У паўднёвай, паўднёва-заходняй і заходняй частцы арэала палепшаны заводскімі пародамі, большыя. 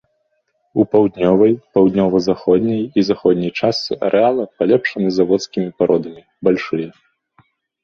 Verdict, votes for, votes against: rejected, 1, 2